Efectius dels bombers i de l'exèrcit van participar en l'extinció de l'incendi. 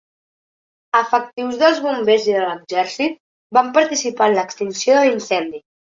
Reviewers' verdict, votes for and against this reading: accepted, 3, 0